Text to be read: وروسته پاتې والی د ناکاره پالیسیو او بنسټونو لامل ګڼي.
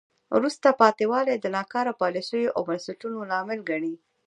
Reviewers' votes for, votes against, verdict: 1, 2, rejected